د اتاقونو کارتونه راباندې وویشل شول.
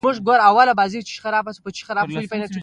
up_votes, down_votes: 1, 2